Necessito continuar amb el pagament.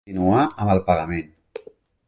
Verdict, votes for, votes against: rejected, 1, 2